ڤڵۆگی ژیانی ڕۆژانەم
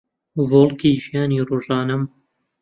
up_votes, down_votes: 0, 2